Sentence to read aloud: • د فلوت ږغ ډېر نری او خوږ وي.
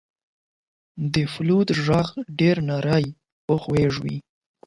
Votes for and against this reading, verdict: 12, 4, accepted